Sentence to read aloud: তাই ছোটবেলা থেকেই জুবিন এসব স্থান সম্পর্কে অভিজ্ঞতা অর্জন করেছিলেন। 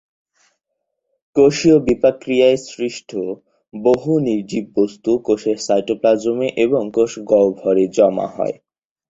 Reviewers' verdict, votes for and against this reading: rejected, 0, 2